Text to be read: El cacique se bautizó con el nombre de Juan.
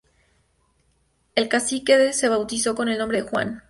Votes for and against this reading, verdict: 0, 2, rejected